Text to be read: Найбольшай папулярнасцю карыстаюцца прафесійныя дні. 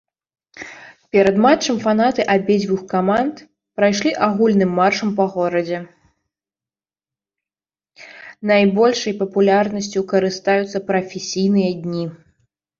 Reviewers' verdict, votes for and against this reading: rejected, 1, 2